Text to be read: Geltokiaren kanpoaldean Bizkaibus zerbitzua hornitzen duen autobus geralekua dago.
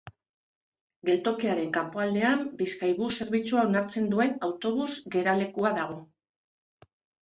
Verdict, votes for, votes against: rejected, 0, 2